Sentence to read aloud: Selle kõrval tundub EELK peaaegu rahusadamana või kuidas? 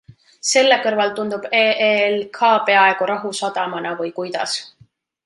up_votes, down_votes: 2, 0